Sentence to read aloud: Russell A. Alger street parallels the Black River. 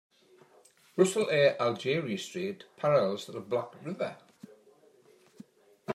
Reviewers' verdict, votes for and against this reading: rejected, 0, 2